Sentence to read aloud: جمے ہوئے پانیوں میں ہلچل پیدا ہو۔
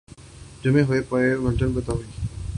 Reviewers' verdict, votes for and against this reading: rejected, 0, 2